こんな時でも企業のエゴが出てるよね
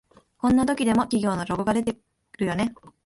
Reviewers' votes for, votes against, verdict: 0, 2, rejected